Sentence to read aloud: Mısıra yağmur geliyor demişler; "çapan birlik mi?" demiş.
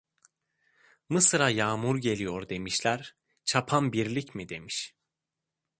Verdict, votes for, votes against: accepted, 2, 0